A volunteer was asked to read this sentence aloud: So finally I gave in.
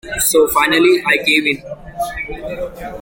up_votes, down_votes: 0, 2